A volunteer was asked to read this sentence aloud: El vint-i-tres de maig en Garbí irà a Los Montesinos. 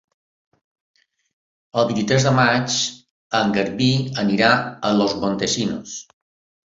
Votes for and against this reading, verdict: 0, 2, rejected